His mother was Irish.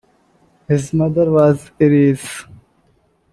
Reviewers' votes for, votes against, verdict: 1, 2, rejected